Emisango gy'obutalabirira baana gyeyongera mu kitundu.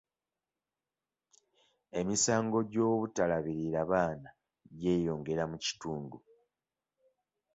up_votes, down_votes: 2, 0